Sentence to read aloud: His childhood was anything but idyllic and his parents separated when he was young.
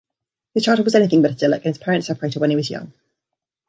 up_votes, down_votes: 1, 2